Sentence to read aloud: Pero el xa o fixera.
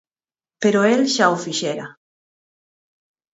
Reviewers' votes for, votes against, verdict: 4, 0, accepted